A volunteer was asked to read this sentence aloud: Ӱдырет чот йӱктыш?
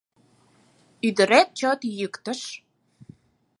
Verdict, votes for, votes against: accepted, 4, 0